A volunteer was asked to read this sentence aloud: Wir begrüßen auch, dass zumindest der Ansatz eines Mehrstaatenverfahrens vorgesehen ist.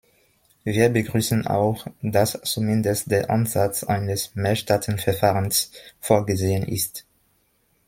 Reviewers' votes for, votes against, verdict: 2, 0, accepted